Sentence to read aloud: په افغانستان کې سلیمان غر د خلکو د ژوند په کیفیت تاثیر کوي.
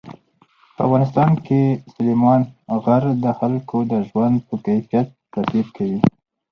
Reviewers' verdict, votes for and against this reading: accepted, 2, 0